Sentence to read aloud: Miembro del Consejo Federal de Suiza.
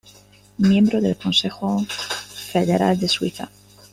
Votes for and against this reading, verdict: 2, 0, accepted